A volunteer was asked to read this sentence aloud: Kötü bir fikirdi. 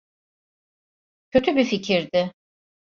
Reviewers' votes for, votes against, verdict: 2, 0, accepted